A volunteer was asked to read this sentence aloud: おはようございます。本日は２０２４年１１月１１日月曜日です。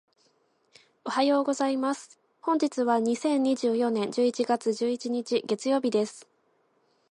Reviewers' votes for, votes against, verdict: 0, 2, rejected